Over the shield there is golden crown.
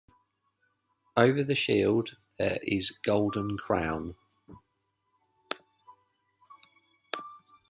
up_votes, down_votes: 2, 0